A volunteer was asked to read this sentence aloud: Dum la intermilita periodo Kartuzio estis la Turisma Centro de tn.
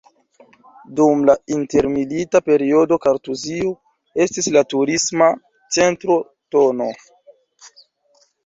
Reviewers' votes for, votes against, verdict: 0, 2, rejected